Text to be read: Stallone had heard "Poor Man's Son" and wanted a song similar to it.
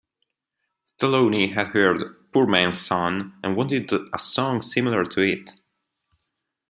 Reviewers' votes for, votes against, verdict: 0, 2, rejected